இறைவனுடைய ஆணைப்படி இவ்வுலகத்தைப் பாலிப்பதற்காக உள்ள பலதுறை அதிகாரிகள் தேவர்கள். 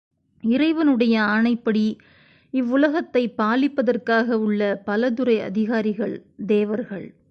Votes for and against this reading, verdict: 2, 0, accepted